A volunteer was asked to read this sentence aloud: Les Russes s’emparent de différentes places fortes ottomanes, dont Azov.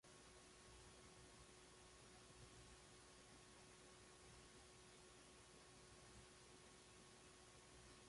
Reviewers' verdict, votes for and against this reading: rejected, 1, 2